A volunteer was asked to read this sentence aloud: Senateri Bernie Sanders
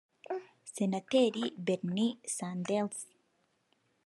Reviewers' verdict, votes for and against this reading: rejected, 2, 3